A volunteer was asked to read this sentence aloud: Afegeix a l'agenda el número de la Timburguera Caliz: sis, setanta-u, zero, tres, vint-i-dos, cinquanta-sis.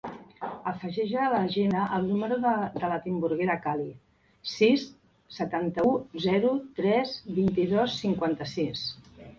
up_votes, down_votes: 1, 2